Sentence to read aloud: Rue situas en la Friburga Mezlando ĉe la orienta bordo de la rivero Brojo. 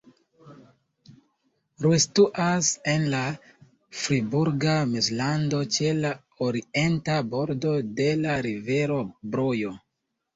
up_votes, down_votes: 2, 1